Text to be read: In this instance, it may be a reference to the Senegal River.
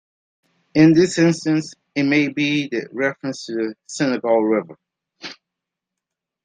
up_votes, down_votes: 1, 3